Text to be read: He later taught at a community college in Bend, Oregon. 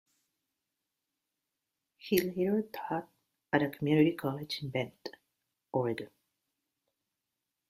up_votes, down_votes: 1, 2